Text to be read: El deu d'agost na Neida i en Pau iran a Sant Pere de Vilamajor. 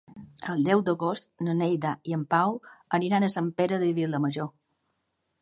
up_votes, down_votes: 0, 2